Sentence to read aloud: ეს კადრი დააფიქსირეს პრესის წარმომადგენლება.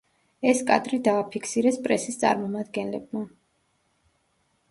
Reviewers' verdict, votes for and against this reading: rejected, 1, 2